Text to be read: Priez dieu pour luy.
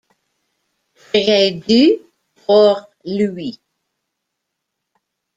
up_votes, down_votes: 0, 2